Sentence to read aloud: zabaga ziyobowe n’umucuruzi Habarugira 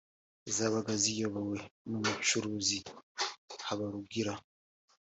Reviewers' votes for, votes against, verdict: 2, 0, accepted